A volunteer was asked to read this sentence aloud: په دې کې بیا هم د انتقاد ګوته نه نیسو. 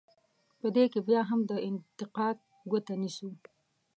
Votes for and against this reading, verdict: 2, 1, accepted